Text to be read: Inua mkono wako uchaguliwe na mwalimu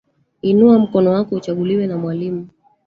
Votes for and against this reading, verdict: 1, 2, rejected